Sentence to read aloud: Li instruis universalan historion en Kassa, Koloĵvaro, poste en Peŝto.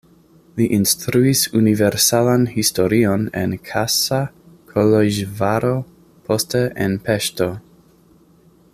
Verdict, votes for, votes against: accepted, 3, 0